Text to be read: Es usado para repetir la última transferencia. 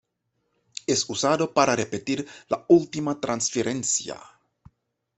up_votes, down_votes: 1, 2